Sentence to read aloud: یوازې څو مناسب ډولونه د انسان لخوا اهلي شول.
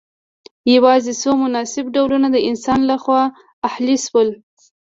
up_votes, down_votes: 2, 0